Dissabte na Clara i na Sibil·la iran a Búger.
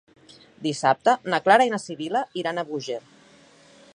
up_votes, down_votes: 2, 0